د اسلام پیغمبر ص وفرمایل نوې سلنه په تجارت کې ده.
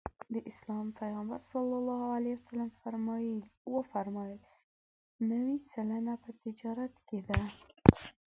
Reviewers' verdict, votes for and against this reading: rejected, 1, 2